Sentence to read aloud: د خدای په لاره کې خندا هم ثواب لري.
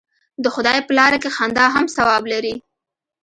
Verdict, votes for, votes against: accepted, 2, 0